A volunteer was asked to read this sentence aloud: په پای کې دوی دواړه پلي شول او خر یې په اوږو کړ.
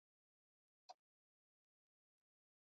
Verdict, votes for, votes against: rejected, 0, 2